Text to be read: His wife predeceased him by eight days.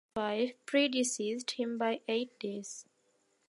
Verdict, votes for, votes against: rejected, 2, 3